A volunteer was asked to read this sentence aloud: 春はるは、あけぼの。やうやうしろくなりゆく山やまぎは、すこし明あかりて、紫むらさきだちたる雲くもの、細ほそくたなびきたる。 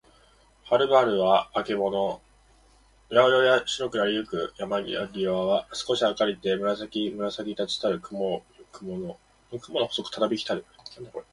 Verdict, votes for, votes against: rejected, 0, 2